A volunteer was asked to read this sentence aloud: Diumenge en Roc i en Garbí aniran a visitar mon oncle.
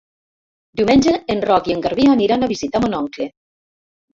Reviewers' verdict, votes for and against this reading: rejected, 1, 2